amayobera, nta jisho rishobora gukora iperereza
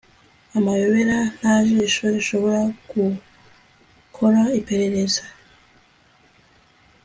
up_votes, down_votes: 2, 0